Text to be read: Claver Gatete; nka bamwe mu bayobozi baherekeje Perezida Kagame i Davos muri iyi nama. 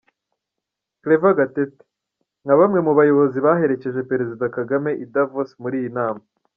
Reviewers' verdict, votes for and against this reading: accepted, 2, 0